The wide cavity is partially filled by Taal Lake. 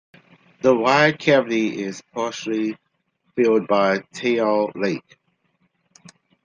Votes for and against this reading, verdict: 2, 1, accepted